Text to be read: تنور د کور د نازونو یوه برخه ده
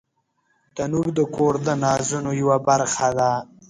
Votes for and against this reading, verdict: 0, 2, rejected